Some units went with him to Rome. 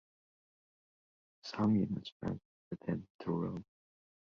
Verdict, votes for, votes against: rejected, 0, 2